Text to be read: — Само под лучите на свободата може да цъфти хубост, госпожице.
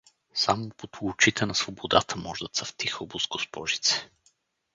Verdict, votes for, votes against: rejected, 0, 2